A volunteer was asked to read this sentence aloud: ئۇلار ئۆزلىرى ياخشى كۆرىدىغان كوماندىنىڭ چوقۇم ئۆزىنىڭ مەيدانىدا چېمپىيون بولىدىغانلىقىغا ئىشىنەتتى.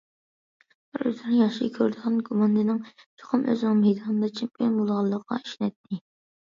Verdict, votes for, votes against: rejected, 0, 2